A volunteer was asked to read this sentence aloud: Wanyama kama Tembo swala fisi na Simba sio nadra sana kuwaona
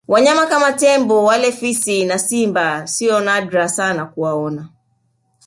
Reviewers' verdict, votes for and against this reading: rejected, 0, 2